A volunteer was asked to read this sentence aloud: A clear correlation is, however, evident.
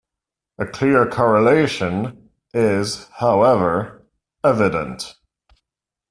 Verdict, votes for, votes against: accepted, 2, 0